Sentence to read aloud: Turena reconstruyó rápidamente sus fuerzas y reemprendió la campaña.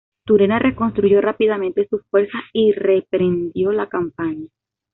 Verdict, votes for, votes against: rejected, 1, 2